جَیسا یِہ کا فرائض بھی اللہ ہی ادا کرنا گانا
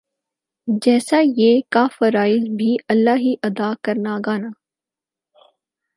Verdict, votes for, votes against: accepted, 6, 0